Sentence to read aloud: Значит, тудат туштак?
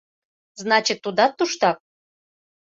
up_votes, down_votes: 2, 0